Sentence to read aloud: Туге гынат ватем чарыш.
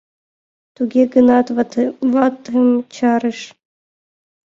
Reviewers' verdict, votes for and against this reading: rejected, 0, 2